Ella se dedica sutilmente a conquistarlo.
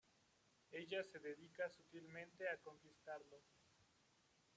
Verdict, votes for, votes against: accepted, 2, 0